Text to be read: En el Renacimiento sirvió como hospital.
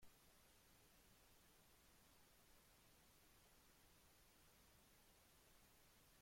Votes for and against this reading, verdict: 0, 2, rejected